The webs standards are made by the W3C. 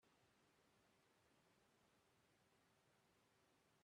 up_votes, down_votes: 0, 2